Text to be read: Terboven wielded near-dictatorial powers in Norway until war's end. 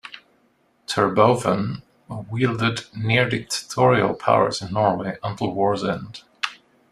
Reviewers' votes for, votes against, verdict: 2, 0, accepted